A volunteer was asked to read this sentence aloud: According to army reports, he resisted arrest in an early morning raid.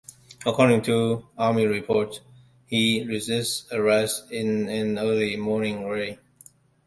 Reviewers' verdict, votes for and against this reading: rejected, 0, 2